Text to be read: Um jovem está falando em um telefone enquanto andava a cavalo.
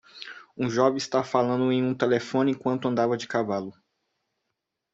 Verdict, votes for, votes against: rejected, 0, 2